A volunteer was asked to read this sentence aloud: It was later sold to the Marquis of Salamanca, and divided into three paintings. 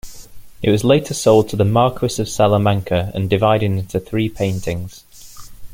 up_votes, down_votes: 2, 0